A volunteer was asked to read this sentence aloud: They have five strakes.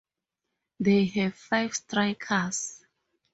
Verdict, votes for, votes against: rejected, 0, 2